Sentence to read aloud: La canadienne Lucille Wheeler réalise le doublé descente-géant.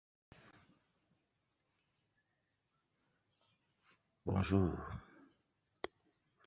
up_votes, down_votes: 0, 2